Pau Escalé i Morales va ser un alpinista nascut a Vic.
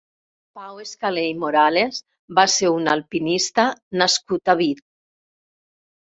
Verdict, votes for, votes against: rejected, 0, 2